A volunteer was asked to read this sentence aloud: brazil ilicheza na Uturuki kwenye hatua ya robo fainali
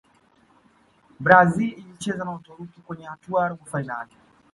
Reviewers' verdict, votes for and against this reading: accepted, 2, 0